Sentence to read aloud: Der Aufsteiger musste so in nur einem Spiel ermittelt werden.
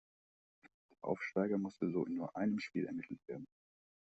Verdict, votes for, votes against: rejected, 1, 2